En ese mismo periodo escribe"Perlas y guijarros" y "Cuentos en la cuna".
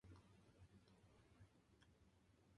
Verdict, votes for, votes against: rejected, 0, 2